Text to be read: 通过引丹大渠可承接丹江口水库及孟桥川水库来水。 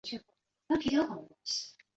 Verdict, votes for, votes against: rejected, 0, 2